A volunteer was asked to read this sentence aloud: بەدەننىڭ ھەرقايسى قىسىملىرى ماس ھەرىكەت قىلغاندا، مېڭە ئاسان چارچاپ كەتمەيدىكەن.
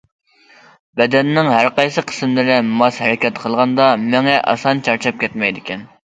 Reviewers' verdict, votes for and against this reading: accepted, 2, 0